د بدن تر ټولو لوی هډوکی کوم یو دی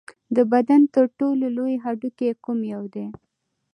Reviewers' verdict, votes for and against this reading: accepted, 2, 0